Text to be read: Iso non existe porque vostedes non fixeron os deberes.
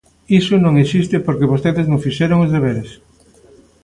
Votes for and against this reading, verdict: 2, 0, accepted